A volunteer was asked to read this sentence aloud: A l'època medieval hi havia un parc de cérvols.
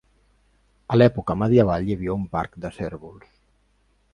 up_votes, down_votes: 2, 0